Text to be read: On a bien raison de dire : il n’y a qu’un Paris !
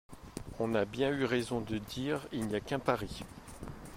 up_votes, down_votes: 1, 2